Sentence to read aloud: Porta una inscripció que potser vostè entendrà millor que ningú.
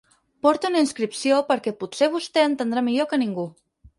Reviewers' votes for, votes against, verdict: 2, 4, rejected